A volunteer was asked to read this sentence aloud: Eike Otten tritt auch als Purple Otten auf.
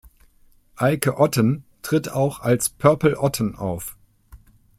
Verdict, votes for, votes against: accepted, 2, 0